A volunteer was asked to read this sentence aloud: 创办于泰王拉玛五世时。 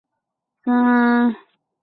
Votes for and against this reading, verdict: 1, 4, rejected